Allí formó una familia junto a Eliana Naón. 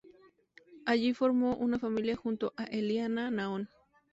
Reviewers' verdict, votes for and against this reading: accepted, 2, 0